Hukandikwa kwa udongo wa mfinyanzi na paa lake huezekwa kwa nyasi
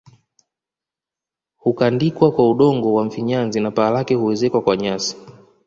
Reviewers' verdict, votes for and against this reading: accepted, 2, 0